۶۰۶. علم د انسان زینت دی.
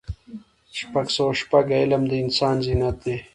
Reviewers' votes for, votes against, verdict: 0, 2, rejected